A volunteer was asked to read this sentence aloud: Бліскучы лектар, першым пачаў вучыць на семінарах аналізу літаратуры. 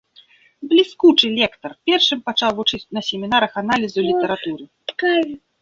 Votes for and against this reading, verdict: 1, 2, rejected